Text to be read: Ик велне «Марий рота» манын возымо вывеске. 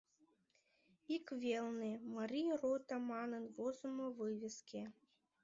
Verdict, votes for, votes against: accepted, 2, 0